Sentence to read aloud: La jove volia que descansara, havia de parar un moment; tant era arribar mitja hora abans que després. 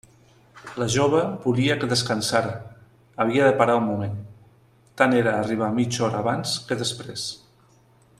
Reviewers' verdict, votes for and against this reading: rejected, 1, 2